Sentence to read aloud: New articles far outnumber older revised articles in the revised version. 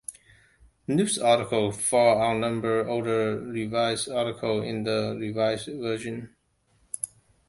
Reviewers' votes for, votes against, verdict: 0, 2, rejected